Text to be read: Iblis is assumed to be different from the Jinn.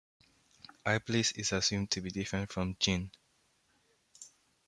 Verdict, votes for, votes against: rejected, 1, 2